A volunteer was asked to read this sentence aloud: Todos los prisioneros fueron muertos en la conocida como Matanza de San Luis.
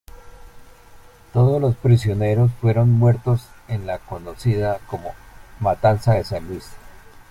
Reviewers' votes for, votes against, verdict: 1, 2, rejected